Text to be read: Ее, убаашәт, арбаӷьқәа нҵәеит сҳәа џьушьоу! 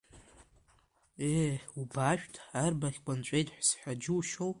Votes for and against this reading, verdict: 2, 0, accepted